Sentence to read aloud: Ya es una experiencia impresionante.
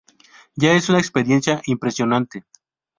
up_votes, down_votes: 2, 0